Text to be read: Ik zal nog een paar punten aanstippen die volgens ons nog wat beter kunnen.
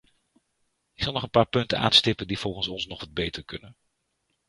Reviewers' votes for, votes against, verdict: 0, 2, rejected